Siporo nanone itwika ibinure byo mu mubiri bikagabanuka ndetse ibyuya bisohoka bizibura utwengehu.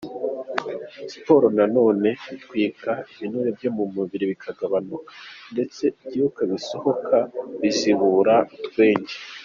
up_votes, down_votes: 1, 3